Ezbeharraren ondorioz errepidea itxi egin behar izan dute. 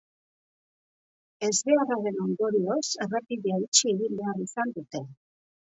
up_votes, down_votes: 2, 0